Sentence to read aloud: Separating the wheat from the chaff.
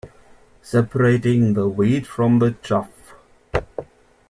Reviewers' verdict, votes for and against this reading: accepted, 2, 0